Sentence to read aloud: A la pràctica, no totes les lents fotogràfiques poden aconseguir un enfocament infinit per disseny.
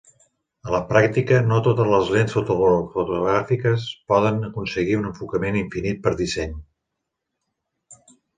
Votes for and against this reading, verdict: 0, 2, rejected